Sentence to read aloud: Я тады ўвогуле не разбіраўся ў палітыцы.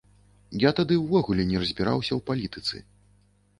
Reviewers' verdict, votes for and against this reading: accepted, 2, 0